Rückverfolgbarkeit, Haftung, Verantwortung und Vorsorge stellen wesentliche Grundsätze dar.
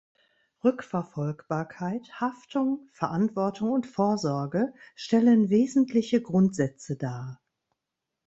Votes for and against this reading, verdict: 2, 0, accepted